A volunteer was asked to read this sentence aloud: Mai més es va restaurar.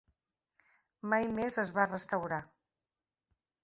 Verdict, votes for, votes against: accepted, 2, 0